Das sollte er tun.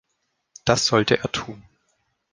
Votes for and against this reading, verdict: 2, 0, accepted